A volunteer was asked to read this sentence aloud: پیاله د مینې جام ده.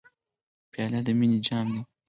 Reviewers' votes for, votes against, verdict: 4, 0, accepted